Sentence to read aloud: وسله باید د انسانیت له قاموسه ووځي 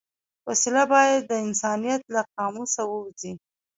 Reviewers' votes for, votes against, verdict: 1, 2, rejected